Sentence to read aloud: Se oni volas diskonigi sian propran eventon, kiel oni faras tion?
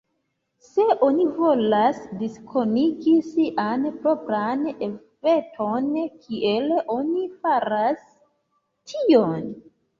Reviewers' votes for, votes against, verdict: 1, 2, rejected